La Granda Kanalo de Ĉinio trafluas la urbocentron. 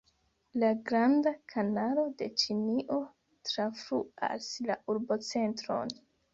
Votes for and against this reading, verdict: 2, 0, accepted